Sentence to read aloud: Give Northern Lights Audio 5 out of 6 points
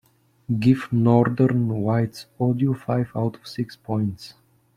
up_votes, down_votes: 0, 2